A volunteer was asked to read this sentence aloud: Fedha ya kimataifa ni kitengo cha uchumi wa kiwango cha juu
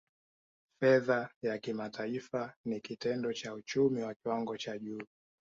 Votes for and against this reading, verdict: 2, 0, accepted